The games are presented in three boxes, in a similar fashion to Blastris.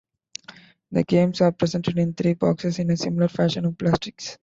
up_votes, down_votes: 2, 1